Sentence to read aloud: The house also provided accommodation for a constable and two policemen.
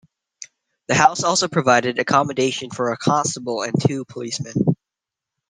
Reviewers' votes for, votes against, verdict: 2, 1, accepted